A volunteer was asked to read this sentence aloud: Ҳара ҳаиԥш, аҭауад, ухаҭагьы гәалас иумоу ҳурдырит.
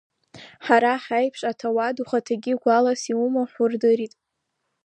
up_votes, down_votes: 0, 2